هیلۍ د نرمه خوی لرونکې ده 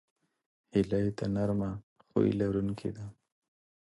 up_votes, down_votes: 2, 0